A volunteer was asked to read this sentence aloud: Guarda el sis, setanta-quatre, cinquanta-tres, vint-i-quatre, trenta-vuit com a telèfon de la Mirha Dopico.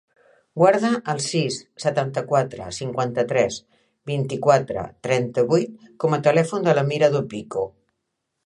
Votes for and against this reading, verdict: 2, 0, accepted